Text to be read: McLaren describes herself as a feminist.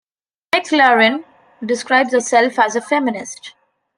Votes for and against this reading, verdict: 1, 2, rejected